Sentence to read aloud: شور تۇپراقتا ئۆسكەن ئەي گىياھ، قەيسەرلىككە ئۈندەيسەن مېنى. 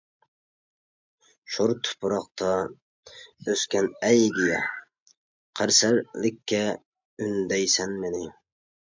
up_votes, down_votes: 0, 2